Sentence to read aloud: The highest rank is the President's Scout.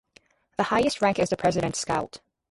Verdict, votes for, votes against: accepted, 4, 0